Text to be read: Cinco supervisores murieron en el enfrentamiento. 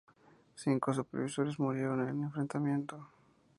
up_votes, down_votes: 2, 0